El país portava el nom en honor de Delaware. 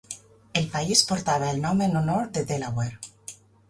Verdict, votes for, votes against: accepted, 3, 0